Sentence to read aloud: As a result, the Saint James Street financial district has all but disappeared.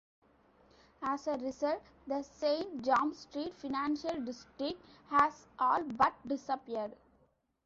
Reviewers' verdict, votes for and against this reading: rejected, 1, 2